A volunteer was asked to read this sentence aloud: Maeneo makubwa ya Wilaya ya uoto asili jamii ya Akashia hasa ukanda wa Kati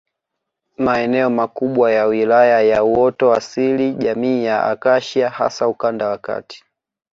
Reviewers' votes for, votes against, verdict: 2, 0, accepted